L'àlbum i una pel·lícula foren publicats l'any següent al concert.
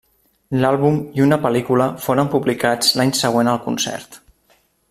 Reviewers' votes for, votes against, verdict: 3, 0, accepted